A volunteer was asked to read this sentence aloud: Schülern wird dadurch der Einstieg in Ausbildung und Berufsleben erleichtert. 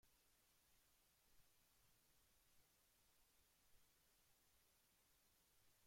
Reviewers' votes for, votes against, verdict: 0, 2, rejected